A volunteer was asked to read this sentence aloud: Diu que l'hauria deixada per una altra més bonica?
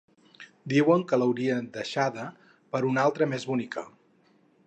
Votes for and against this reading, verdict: 0, 4, rejected